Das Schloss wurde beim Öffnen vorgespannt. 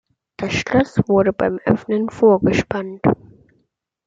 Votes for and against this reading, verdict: 2, 0, accepted